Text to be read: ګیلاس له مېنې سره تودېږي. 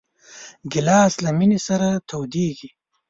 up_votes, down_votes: 3, 0